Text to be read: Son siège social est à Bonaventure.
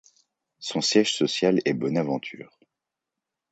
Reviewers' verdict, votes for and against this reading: rejected, 1, 2